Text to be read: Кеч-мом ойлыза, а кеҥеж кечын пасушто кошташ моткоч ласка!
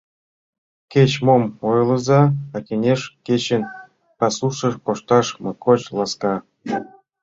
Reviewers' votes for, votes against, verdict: 0, 2, rejected